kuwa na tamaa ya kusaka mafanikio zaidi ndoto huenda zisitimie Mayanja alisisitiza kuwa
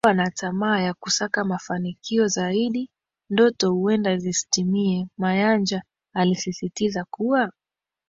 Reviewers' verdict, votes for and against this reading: accepted, 2, 0